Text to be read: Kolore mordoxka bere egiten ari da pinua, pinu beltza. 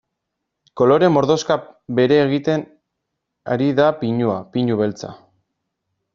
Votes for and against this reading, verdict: 0, 2, rejected